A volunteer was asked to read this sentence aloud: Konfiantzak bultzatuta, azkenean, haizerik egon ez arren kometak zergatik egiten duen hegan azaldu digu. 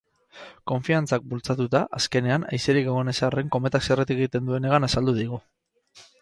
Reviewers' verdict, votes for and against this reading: accepted, 4, 0